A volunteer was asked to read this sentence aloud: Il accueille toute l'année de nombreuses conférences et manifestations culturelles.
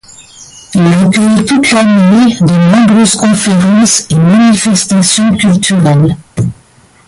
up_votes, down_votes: 1, 2